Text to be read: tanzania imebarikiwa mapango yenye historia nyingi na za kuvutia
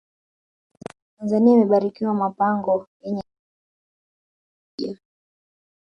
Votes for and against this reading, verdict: 0, 2, rejected